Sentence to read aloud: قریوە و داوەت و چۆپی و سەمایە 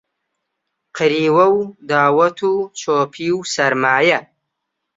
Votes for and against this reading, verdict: 0, 2, rejected